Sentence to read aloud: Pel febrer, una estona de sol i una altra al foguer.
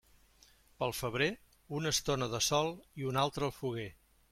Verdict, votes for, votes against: accepted, 3, 0